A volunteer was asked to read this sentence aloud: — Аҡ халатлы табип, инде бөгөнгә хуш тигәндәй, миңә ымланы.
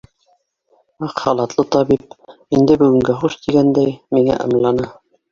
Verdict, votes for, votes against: rejected, 1, 2